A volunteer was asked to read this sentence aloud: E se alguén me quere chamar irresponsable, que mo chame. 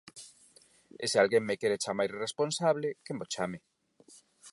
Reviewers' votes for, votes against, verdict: 4, 0, accepted